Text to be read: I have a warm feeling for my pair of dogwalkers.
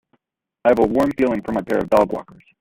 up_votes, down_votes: 0, 2